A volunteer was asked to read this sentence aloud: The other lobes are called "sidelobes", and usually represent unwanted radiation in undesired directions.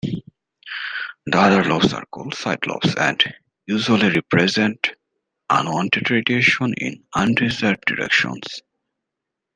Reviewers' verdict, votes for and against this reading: rejected, 0, 2